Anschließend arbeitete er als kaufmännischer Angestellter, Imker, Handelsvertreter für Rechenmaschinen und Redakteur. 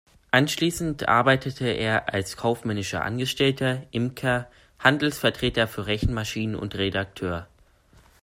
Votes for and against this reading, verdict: 2, 0, accepted